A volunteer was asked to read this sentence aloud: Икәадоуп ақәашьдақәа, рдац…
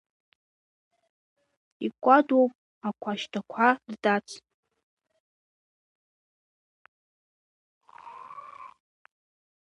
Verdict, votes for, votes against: rejected, 0, 2